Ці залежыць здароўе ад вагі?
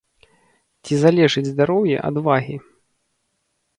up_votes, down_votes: 1, 2